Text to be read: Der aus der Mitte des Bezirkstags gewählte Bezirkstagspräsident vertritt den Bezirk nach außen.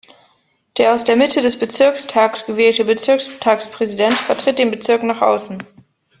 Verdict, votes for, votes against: accepted, 2, 0